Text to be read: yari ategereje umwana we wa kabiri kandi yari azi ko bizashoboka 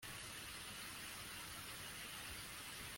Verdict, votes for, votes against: rejected, 0, 2